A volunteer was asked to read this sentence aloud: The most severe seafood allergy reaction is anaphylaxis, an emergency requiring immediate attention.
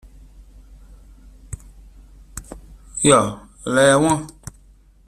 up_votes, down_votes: 0, 2